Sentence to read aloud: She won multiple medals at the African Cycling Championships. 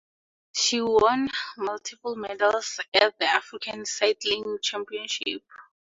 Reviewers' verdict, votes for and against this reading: accepted, 2, 0